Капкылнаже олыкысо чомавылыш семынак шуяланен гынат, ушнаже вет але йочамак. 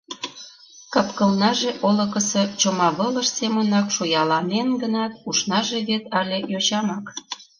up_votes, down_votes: 2, 0